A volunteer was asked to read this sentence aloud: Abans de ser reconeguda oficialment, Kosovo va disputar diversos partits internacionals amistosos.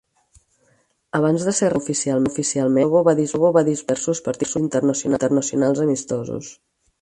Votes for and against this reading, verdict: 0, 4, rejected